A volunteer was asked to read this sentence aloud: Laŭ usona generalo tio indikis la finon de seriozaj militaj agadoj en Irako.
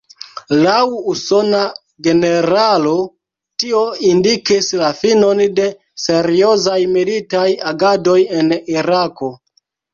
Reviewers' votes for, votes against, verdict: 0, 2, rejected